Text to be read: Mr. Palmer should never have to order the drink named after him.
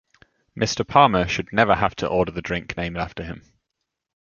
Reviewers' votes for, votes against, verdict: 2, 0, accepted